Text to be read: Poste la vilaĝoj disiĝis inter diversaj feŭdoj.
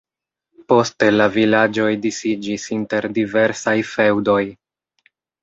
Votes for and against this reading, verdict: 2, 0, accepted